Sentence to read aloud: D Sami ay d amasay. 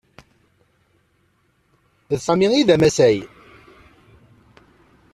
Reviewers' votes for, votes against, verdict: 2, 0, accepted